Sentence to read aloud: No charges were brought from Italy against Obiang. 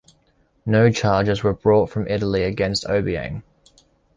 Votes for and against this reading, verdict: 2, 1, accepted